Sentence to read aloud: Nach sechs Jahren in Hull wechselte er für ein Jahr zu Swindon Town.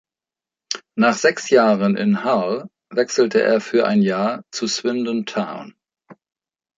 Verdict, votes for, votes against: accepted, 2, 0